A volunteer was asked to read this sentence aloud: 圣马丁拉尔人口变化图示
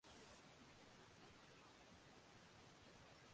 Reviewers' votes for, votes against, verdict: 0, 3, rejected